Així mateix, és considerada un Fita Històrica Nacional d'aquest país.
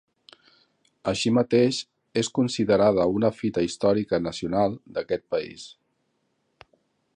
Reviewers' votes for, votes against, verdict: 2, 0, accepted